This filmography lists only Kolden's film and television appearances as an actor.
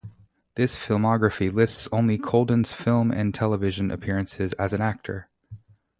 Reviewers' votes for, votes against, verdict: 2, 0, accepted